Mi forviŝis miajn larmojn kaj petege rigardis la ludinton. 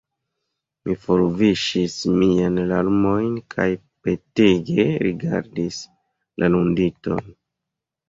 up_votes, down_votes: 2, 1